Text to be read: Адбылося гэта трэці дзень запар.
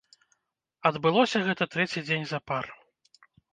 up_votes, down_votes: 1, 2